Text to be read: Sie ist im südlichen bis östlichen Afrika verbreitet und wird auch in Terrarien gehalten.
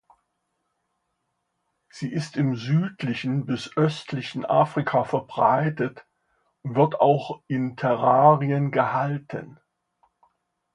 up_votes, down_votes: 2, 0